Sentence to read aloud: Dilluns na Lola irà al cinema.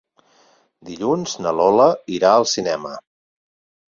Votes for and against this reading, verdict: 8, 0, accepted